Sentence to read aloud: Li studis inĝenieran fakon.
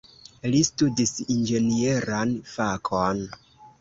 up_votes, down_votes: 2, 0